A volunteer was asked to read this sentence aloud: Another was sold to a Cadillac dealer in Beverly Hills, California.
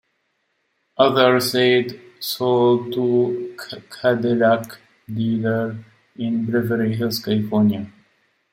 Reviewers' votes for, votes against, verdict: 1, 2, rejected